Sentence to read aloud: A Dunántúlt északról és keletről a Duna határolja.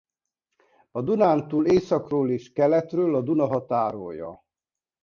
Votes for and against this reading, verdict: 0, 2, rejected